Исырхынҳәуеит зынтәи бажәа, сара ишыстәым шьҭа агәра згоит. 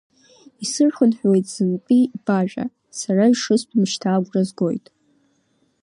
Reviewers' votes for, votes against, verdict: 2, 0, accepted